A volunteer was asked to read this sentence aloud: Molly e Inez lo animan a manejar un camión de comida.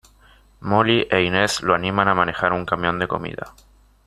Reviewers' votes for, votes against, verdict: 2, 0, accepted